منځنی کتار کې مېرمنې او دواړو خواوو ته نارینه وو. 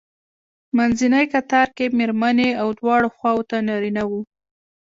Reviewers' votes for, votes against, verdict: 2, 1, accepted